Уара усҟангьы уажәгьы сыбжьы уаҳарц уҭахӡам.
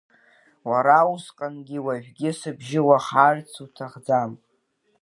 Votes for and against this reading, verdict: 2, 1, accepted